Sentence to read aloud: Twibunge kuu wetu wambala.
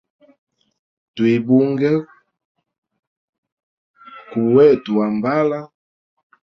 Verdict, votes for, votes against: accepted, 2, 0